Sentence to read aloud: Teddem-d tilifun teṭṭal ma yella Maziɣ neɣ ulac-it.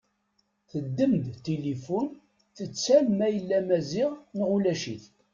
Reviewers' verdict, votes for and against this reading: rejected, 1, 3